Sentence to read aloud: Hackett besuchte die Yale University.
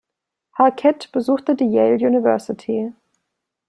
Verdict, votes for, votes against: accepted, 2, 0